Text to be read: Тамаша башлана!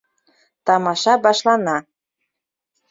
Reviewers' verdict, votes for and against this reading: accepted, 2, 0